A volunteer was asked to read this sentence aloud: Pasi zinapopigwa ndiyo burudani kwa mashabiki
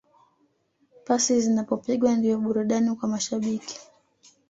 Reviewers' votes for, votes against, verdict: 1, 2, rejected